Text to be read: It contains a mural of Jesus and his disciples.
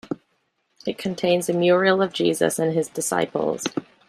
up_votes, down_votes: 0, 2